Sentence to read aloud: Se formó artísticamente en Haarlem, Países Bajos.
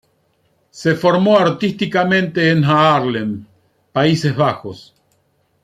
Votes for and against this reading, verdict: 2, 0, accepted